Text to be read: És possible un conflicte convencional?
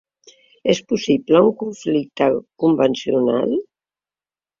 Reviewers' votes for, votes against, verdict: 3, 0, accepted